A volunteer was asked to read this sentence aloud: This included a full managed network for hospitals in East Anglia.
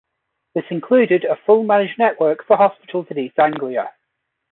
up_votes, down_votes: 2, 0